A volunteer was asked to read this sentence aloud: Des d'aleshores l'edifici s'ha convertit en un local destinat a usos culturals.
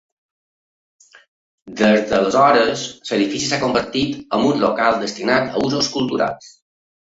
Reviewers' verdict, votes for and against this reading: rejected, 1, 2